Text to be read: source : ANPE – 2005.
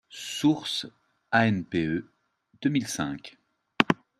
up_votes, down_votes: 0, 2